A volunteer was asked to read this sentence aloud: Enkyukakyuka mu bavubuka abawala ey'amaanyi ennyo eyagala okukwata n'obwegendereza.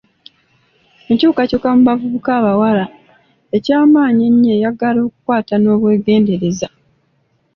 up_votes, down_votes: 2, 1